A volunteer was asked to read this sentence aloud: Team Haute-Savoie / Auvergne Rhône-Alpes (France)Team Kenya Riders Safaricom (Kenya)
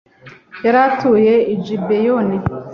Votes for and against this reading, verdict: 0, 2, rejected